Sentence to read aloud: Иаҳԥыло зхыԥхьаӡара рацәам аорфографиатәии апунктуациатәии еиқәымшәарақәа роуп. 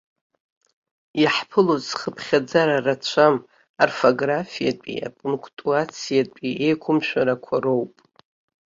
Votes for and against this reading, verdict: 2, 1, accepted